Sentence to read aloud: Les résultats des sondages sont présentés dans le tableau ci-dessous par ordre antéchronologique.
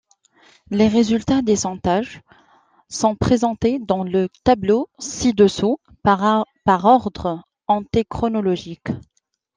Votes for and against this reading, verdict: 0, 2, rejected